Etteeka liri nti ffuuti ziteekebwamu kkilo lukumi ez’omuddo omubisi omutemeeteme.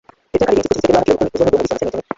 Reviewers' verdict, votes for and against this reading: rejected, 0, 2